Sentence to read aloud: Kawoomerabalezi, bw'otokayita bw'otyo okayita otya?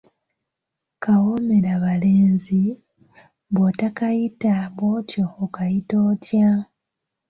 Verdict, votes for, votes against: rejected, 0, 2